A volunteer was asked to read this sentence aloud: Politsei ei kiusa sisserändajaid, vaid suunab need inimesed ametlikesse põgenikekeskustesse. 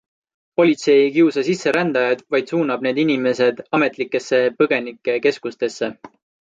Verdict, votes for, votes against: accepted, 2, 0